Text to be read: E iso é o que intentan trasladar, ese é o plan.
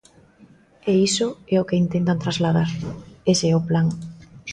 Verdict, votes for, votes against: accepted, 2, 0